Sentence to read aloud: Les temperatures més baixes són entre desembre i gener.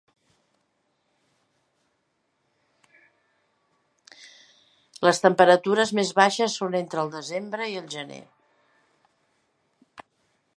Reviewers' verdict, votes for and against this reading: rejected, 0, 2